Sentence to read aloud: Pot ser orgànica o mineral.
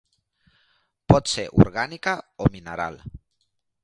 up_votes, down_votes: 3, 0